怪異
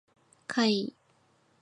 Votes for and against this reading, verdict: 4, 0, accepted